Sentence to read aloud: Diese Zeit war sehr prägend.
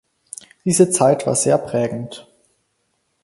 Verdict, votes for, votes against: accepted, 4, 0